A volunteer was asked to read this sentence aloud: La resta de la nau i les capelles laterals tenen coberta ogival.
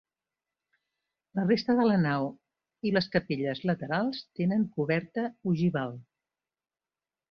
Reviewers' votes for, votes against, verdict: 2, 0, accepted